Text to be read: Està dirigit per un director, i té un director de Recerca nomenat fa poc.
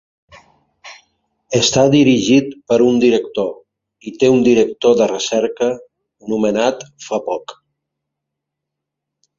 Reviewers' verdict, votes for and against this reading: accepted, 4, 1